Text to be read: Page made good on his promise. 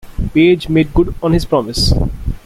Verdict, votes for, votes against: rejected, 1, 2